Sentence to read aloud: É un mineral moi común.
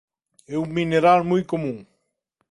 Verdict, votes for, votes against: accepted, 2, 0